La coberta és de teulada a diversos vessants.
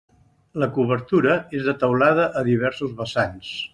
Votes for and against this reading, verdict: 0, 2, rejected